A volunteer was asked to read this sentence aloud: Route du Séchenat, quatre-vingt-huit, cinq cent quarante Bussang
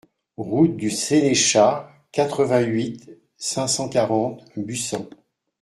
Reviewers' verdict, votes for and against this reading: rejected, 0, 2